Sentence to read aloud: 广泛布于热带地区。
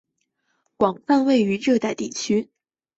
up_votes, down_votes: 2, 1